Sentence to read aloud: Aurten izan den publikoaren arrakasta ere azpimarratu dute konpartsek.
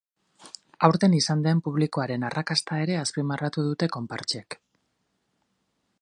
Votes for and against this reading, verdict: 4, 0, accepted